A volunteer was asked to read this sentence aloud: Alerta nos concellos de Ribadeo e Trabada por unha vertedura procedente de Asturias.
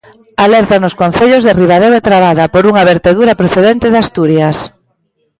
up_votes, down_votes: 1, 2